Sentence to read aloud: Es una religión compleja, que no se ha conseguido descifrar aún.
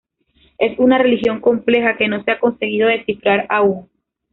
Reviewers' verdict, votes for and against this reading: rejected, 1, 2